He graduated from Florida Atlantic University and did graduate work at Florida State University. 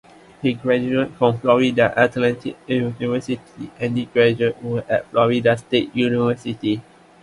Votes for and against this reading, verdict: 2, 1, accepted